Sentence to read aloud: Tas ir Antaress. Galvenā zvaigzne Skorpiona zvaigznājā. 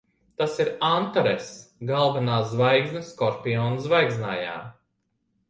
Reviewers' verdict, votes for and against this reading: accepted, 2, 0